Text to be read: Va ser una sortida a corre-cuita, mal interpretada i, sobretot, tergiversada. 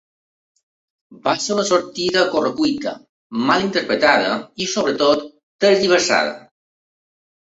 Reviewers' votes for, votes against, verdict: 2, 0, accepted